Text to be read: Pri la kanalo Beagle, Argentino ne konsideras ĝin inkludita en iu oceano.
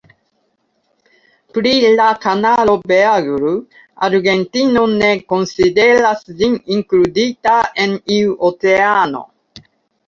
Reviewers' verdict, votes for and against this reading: rejected, 0, 2